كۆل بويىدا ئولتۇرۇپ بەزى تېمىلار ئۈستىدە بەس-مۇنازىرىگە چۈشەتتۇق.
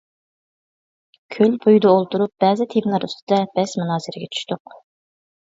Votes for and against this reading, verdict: 0, 2, rejected